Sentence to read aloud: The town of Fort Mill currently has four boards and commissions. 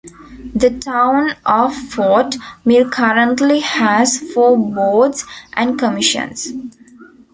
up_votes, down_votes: 1, 2